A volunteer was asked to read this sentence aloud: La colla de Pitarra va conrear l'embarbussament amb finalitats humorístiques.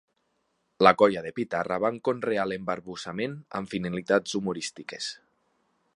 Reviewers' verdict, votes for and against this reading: rejected, 0, 2